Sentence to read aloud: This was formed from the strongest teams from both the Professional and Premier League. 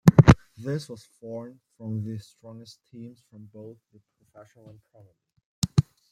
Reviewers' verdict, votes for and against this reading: rejected, 1, 2